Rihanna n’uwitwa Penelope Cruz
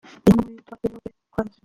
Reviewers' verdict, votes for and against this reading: rejected, 0, 2